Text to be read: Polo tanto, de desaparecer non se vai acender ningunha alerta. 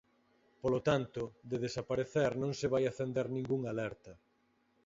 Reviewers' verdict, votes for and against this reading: accepted, 4, 0